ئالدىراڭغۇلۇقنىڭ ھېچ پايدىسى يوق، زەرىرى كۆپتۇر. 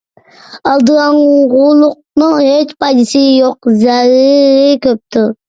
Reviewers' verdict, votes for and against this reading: rejected, 0, 2